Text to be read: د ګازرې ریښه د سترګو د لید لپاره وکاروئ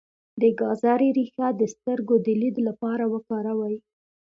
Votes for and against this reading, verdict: 2, 0, accepted